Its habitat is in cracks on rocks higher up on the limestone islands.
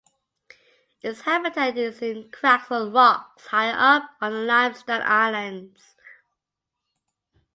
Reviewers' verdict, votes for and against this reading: accepted, 2, 1